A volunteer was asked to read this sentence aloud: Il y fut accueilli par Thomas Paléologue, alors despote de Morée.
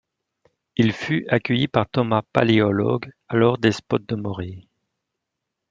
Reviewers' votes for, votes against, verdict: 1, 2, rejected